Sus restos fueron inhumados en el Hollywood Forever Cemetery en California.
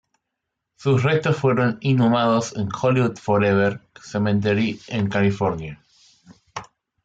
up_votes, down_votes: 1, 2